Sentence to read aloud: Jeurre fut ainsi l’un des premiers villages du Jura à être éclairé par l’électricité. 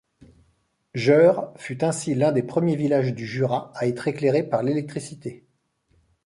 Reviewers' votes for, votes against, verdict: 2, 0, accepted